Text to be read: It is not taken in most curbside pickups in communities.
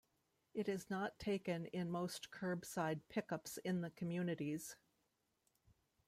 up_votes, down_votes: 0, 2